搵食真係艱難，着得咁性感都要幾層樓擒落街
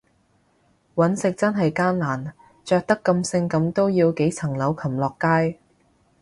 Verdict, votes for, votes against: accepted, 2, 0